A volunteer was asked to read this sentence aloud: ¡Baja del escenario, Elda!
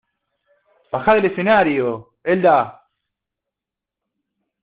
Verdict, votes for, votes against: rejected, 1, 2